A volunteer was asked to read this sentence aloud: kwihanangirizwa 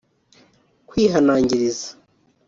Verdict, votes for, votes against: rejected, 2, 3